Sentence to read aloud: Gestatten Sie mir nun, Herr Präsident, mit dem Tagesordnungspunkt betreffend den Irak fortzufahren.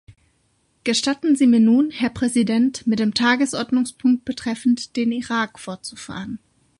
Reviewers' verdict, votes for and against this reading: accepted, 2, 0